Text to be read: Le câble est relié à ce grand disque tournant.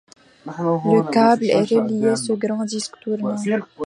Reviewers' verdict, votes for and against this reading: rejected, 0, 2